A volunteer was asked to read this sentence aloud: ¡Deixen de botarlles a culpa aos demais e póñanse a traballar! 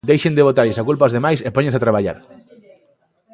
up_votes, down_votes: 2, 0